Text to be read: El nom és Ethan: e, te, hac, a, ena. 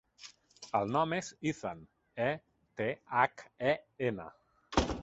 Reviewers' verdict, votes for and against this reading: rejected, 1, 2